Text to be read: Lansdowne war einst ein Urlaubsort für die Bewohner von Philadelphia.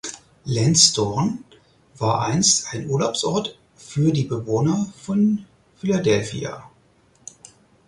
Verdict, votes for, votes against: accepted, 4, 0